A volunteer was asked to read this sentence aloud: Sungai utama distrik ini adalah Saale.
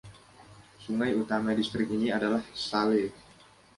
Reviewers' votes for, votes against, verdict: 2, 0, accepted